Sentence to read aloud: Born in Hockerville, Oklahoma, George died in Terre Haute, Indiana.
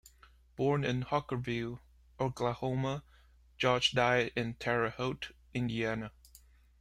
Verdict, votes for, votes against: accepted, 2, 0